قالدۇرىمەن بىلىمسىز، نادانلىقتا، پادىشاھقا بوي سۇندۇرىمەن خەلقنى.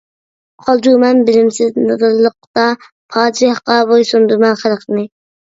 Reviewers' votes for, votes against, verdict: 0, 2, rejected